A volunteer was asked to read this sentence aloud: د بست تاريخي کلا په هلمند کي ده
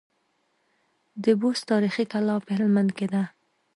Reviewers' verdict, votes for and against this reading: rejected, 1, 2